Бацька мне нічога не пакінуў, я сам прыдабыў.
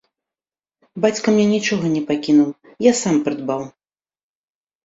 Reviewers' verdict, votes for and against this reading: rejected, 1, 2